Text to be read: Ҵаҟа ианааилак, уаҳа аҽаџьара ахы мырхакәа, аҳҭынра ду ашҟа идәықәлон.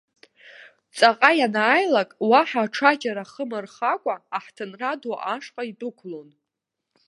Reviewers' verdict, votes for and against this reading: rejected, 0, 2